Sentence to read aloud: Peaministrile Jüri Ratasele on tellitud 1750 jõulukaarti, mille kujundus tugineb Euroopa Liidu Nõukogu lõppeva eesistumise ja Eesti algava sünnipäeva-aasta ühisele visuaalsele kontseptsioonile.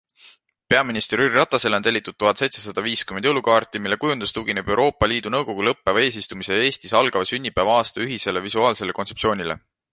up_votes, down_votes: 0, 2